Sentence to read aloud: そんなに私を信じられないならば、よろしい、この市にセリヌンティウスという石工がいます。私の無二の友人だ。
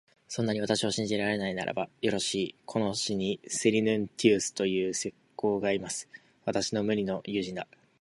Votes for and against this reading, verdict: 2, 0, accepted